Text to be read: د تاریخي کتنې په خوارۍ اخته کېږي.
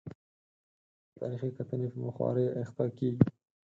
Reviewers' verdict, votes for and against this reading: accepted, 4, 0